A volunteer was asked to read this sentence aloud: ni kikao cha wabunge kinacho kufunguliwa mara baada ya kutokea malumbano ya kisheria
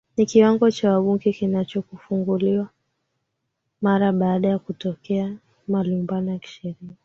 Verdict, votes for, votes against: rejected, 0, 2